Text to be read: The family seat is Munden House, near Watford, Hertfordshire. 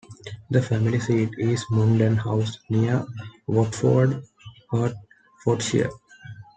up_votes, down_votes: 2, 1